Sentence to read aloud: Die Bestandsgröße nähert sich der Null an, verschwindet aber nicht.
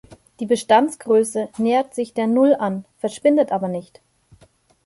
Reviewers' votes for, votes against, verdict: 2, 0, accepted